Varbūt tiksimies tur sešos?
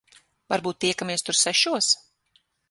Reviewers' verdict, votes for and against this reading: rejected, 0, 6